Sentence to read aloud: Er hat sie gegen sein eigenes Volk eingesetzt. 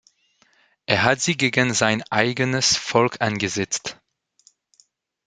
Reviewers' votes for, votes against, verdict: 2, 1, accepted